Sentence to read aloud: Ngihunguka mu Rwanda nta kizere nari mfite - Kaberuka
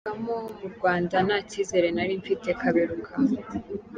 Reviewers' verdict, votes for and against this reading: rejected, 1, 2